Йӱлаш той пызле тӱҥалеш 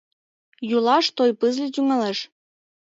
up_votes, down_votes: 0, 3